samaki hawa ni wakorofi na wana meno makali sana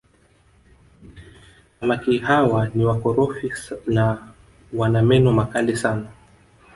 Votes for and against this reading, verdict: 1, 2, rejected